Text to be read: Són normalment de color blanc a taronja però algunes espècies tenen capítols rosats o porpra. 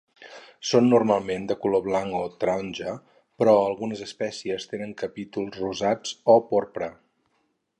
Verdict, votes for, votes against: rejected, 0, 2